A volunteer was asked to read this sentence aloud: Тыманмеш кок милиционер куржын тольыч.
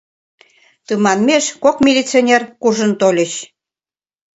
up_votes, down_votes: 2, 0